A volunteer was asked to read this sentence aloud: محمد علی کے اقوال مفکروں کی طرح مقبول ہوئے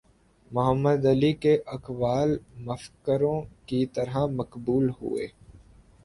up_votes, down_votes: 1, 2